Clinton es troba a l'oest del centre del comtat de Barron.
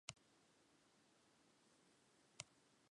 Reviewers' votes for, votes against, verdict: 0, 4, rejected